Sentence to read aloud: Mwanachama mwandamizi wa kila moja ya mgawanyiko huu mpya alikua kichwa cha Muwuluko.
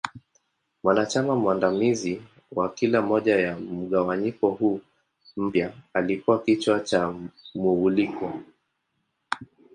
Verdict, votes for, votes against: rejected, 0, 3